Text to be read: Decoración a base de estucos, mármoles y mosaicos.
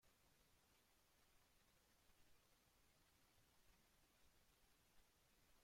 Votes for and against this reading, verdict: 0, 2, rejected